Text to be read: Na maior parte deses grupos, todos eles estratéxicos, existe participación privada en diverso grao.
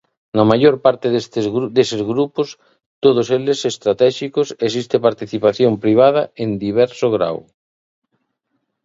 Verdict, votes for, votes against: rejected, 0, 2